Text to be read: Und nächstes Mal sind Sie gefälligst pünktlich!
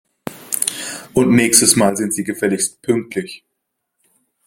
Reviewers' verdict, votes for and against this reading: accepted, 2, 0